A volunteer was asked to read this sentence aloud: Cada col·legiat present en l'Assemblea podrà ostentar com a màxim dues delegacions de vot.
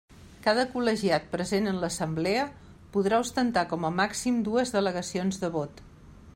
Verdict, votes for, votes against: accepted, 3, 0